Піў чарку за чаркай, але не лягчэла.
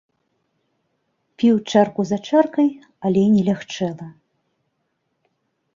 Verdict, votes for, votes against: accepted, 2, 0